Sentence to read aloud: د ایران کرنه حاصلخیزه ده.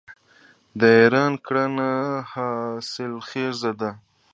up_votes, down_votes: 2, 1